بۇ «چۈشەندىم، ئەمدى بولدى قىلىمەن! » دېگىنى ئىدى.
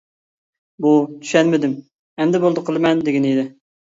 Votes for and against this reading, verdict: 0, 2, rejected